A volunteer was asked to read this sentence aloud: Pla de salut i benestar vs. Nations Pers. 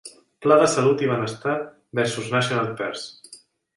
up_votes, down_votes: 1, 2